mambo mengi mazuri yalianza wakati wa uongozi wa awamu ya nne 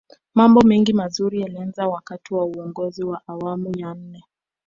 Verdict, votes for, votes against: accepted, 4, 1